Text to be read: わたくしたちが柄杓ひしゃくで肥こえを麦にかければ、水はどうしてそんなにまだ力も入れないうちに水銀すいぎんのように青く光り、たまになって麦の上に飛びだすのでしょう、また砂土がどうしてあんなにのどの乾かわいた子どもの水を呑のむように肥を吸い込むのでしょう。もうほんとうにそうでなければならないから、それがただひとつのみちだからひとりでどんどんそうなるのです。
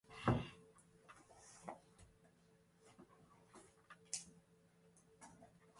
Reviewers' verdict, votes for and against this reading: rejected, 0, 3